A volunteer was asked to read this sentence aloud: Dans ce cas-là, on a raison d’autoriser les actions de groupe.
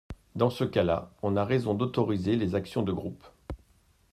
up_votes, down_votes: 2, 0